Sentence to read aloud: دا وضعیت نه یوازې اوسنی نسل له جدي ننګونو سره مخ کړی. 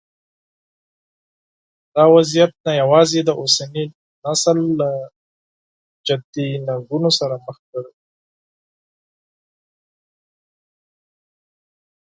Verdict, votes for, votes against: accepted, 4, 2